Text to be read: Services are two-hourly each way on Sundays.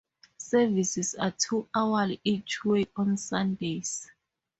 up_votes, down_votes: 4, 0